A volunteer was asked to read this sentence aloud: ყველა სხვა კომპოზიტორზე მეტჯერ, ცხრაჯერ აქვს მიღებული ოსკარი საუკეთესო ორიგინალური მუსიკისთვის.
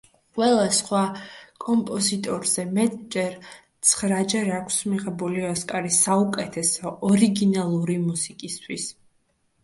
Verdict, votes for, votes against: accepted, 2, 1